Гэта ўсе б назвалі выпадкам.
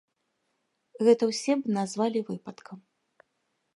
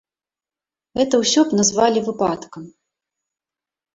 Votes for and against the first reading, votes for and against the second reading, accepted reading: 3, 0, 0, 2, first